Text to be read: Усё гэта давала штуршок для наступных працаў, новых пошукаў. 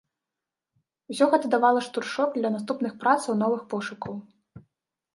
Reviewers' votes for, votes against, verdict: 2, 0, accepted